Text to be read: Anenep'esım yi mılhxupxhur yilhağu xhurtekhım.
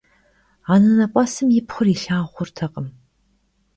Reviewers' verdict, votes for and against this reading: rejected, 1, 2